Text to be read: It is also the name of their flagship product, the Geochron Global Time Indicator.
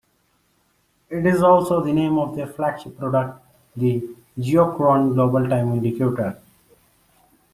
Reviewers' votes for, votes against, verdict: 1, 2, rejected